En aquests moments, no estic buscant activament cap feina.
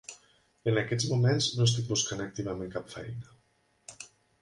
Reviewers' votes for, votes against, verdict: 3, 0, accepted